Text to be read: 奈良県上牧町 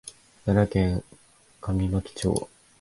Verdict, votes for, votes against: accepted, 2, 0